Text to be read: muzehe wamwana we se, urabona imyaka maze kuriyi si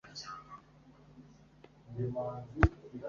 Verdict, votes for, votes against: rejected, 1, 3